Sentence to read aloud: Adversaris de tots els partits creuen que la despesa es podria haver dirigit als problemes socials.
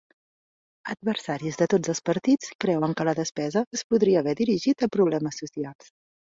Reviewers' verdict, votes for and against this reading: rejected, 0, 2